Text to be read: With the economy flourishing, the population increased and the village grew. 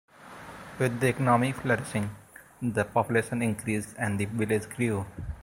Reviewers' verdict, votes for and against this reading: rejected, 0, 2